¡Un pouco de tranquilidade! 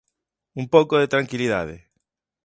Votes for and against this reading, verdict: 3, 0, accepted